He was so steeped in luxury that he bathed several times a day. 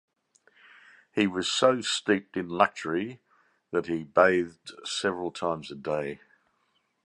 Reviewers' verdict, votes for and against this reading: accepted, 2, 0